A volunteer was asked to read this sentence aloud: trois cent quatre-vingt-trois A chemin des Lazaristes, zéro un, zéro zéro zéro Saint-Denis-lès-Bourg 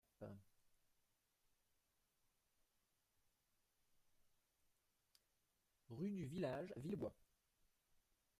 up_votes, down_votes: 0, 2